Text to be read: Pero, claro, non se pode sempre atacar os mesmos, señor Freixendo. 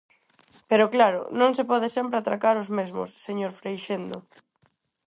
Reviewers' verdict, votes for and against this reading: rejected, 0, 4